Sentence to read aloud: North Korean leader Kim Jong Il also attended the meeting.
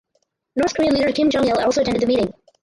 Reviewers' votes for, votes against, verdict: 0, 4, rejected